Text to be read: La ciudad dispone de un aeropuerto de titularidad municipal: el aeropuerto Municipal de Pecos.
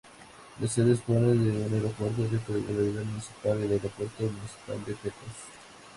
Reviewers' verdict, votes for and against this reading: rejected, 0, 2